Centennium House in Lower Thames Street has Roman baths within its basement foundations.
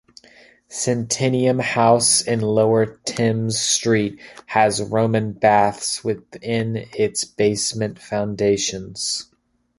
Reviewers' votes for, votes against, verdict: 2, 0, accepted